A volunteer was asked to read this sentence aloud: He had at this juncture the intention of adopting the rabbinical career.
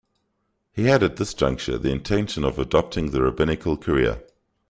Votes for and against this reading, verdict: 2, 0, accepted